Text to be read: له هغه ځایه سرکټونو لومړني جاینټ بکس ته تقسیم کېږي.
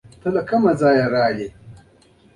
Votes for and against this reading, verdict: 0, 2, rejected